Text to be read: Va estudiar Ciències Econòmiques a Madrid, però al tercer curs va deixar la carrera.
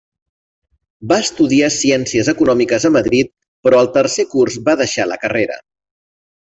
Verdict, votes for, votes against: accepted, 2, 0